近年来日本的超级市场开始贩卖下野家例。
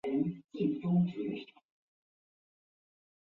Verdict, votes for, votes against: rejected, 0, 5